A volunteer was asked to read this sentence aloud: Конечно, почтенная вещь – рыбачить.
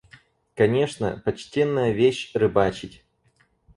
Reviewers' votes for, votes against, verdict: 4, 0, accepted